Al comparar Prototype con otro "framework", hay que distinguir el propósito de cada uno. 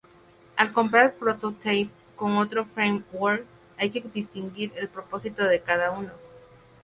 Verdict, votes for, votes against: rejected, 0, 2